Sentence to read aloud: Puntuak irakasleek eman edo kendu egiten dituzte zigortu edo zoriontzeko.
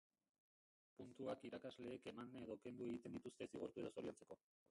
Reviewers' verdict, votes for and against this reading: rejected, 0, 2